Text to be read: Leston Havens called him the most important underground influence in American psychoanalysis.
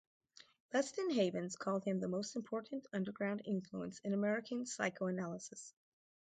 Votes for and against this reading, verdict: 4, 0, accepted